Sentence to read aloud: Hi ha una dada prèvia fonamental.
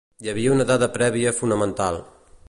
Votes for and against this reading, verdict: 0, 2, rejected